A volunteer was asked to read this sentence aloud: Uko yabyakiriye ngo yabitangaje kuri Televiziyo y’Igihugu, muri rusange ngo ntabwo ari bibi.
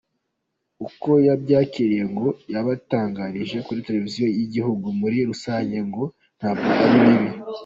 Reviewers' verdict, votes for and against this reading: rejected, 1, 2